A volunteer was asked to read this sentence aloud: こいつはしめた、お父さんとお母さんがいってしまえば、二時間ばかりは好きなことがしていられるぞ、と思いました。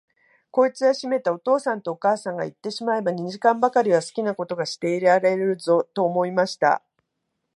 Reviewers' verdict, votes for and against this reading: accepted, 2, 0